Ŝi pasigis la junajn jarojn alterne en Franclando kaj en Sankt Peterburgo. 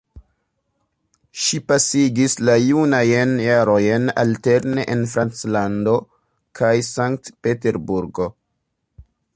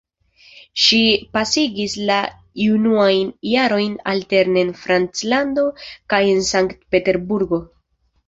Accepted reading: second